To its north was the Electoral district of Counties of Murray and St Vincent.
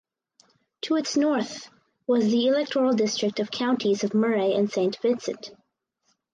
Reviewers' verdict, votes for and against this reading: accepted, 4, 0